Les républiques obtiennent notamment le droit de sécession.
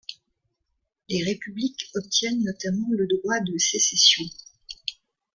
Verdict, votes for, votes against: accepted, 2, 0